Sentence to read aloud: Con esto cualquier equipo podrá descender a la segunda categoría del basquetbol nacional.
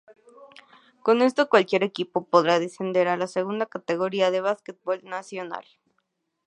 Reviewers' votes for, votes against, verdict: 2, 0, accepted